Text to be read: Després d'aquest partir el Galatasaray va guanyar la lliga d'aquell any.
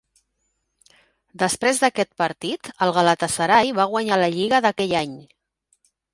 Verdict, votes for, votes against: rejected, 1, 3